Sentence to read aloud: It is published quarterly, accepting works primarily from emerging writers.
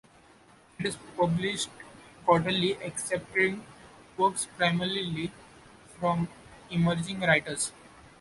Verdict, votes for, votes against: rejected, 0, 2